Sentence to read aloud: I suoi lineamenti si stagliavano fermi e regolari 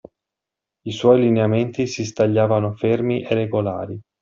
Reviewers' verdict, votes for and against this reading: accepted, 2, 0